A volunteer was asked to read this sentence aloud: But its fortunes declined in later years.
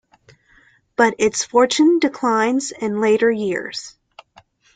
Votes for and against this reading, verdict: 0, 2, rejected